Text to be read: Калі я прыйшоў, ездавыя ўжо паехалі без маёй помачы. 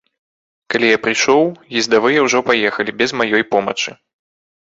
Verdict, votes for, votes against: accepted, 2, 0